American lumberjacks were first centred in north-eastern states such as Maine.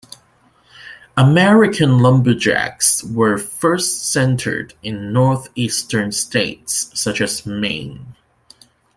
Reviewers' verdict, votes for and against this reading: accepted, 2, 0